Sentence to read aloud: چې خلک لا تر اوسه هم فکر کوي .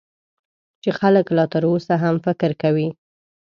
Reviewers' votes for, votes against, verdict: 2, 0, accepted